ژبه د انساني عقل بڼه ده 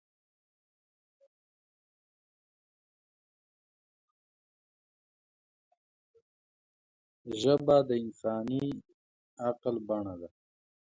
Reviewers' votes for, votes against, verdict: 0, 2, rejected